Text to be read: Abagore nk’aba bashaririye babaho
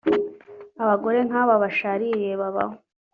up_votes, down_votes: 3, 1